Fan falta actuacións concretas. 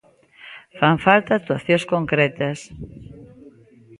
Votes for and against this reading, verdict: 2, 0, accepted